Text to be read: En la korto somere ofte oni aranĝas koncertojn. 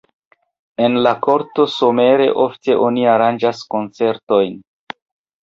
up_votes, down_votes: 0, 2